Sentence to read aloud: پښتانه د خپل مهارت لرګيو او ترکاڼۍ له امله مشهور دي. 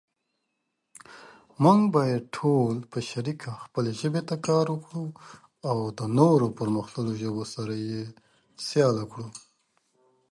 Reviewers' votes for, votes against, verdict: 0, 3, rejected